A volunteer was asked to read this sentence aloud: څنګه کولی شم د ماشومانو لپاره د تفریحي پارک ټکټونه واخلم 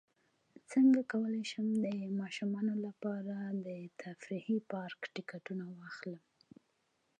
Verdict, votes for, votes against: rejected, 1, 2